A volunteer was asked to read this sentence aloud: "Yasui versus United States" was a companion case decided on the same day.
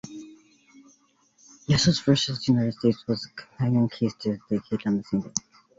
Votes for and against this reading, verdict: 0, 2, rejected